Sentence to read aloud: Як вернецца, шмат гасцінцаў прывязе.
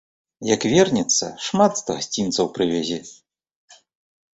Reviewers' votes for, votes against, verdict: 1, 2, rejected